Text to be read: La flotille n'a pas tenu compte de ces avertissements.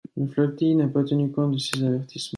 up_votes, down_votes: 1, 2